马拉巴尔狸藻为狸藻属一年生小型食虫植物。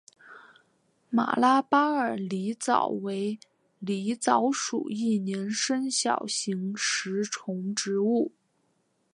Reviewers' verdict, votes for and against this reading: accepted, 2, 0